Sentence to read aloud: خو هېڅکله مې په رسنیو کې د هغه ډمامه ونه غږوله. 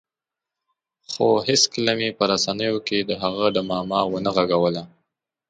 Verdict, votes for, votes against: accepted, 3, 0